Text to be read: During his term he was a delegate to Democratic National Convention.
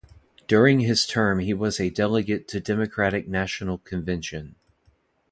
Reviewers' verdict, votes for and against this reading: accepted, 2, 0